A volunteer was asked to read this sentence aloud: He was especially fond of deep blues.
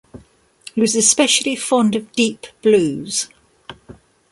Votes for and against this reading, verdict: 2, 0, accepted